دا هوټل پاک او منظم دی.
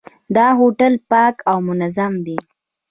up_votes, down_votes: 2, 0